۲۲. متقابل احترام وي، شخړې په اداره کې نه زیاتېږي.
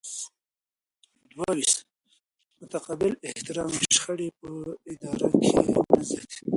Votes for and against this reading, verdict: 0, 2, rejected